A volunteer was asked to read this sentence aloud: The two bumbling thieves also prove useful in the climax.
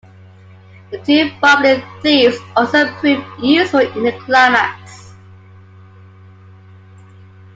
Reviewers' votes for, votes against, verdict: 2, 0, accepted